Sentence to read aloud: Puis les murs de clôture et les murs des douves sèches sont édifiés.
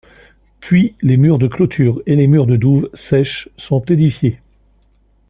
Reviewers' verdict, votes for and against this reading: rejected, 1, 2